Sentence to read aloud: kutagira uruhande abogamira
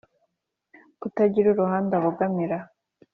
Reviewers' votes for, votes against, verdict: 2, 0, accepted